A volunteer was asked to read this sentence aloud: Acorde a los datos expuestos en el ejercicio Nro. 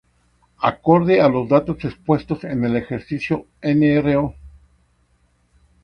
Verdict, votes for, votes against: rejected, 0, 2